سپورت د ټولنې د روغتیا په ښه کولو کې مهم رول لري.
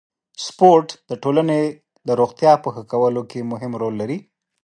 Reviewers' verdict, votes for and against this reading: accepted, 2, 0